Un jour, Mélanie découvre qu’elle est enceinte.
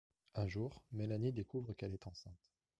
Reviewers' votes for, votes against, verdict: 2, 0, accepted